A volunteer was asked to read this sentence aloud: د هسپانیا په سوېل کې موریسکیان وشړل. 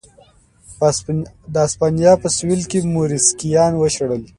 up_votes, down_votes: 2, 0